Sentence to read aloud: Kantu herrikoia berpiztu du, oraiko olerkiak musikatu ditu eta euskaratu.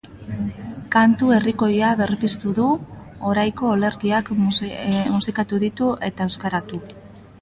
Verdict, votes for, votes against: rejected, 0, 3